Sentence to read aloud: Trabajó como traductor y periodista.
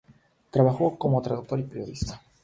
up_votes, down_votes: 3, 0